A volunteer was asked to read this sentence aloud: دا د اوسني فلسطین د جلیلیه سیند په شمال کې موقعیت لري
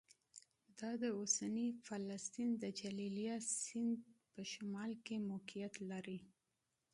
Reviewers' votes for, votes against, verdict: 2, 1, accepted